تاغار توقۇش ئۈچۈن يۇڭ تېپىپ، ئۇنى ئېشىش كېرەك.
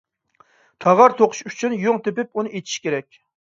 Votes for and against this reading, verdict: 0, 2, rejected